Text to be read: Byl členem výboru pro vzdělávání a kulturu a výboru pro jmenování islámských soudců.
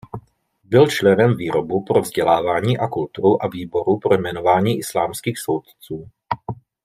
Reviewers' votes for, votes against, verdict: 0, 2, rejected